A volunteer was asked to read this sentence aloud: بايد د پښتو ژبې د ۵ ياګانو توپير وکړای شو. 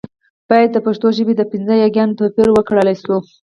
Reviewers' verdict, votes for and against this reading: rejected, 0, 2